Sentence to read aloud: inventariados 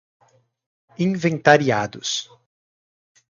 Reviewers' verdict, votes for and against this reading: accepted, 4, 0